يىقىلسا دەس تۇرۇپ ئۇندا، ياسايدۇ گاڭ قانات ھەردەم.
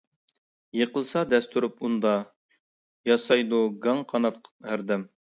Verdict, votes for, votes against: accepted, 2, 0